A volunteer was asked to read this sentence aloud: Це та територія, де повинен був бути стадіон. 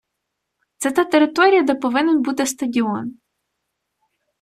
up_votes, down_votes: 0, 2